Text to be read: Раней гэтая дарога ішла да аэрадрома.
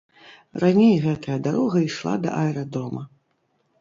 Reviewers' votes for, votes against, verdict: 2, 0, accepted